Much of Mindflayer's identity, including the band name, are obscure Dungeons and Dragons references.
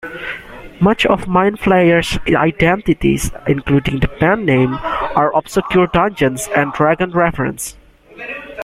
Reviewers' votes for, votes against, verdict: 0, 2, rejected